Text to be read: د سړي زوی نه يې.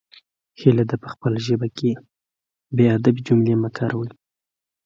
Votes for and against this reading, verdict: 0, 2, rejected